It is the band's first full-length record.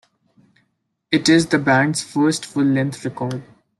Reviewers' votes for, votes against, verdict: 2, 0, accepted